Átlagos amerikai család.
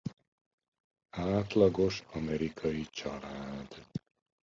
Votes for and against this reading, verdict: 1, 2, rejected